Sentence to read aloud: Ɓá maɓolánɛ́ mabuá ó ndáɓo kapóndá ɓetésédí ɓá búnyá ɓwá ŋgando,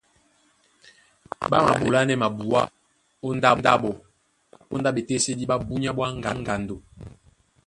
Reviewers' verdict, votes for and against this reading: rejected, 0, 2